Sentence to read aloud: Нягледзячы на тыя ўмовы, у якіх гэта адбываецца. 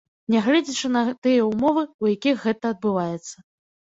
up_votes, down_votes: 1, 2